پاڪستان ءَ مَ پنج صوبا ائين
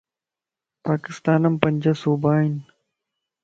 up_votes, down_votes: 2, 0